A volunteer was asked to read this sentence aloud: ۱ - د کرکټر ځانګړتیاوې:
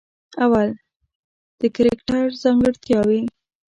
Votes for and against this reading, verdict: 0, 2, rejected